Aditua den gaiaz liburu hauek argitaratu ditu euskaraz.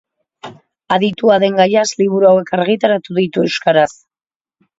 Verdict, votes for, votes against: accepted, 2, 0